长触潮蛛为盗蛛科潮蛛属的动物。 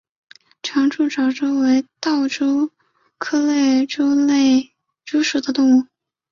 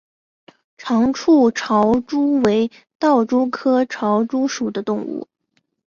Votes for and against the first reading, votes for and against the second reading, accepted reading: 0, 3, 2, 1, second